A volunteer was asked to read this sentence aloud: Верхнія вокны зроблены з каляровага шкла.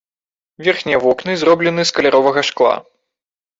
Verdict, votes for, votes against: accepted, 2, 0